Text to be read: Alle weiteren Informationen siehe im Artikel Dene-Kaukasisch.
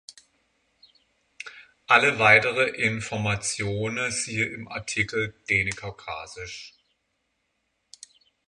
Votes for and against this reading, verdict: 0, 6, rejected